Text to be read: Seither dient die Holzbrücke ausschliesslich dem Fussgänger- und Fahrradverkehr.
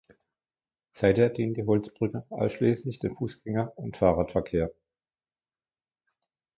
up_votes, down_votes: 2, 1